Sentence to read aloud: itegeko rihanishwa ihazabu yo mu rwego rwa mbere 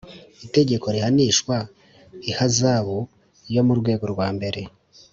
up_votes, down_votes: 2, 0